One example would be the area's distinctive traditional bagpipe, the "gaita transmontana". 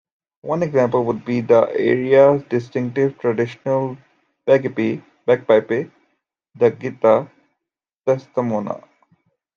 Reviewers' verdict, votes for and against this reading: rejected, 0, 3